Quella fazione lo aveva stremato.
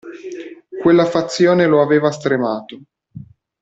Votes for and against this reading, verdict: 2, 0, accepted